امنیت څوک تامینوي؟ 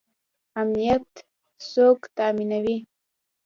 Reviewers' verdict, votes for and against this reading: rejected, 1, 2